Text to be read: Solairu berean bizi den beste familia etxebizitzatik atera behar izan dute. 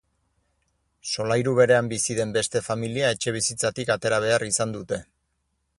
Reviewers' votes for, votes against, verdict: 4, 0, accepted